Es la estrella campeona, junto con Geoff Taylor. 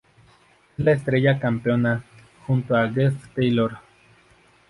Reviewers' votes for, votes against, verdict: 0, 2, rejected